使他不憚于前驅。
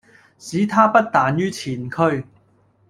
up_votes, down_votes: 1, 2